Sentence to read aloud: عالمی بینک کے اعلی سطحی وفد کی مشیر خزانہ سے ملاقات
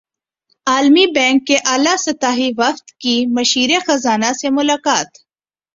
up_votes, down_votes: 2, 0